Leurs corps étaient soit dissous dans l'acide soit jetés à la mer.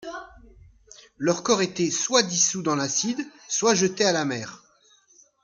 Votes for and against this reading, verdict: 2, 0, accepted